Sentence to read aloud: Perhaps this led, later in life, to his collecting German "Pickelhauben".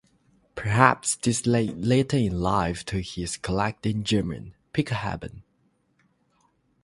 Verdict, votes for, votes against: accepted, 3, 0